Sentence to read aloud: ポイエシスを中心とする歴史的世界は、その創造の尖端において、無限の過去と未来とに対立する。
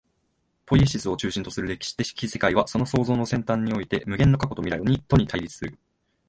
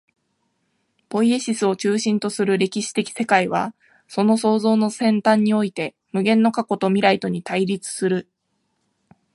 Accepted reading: second